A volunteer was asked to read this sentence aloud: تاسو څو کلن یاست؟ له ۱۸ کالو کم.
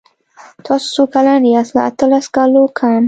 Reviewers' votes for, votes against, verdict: 0, 2, rejected